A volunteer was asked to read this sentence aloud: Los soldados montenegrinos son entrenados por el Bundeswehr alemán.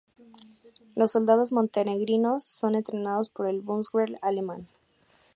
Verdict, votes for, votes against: accepted, 2, 0